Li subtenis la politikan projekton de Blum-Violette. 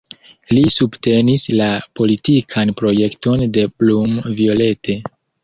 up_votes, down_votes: 2, 0